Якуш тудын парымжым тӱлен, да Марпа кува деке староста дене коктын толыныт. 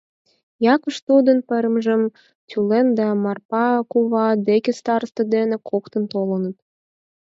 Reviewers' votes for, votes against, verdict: 4, 0, accepted